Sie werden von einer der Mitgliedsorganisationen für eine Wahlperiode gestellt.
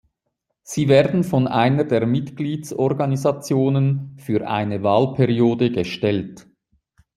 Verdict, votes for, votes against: accepted, 2, 0